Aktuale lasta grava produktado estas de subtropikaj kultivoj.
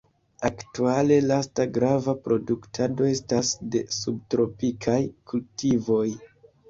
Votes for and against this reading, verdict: 0, 2, rejected